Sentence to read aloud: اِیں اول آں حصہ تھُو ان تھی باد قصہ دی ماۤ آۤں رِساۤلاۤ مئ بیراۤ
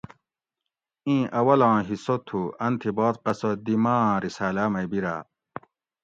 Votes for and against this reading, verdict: 2, 0, accepted